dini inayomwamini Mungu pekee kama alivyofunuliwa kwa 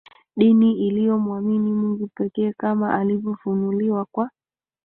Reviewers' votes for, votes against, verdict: 1, 2, rejected